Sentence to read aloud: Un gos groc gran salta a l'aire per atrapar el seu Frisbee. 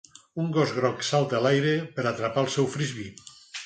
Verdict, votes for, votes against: rejected, 2, 6